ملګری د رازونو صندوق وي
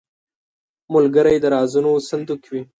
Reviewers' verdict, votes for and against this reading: accepted, 2, 0